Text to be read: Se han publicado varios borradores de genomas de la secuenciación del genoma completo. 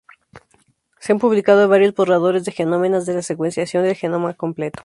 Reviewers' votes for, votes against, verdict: 2, 2, rejected